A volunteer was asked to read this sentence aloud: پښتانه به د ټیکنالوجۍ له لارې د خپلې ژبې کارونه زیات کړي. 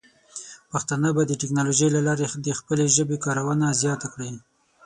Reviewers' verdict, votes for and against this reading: accepted, 6, 0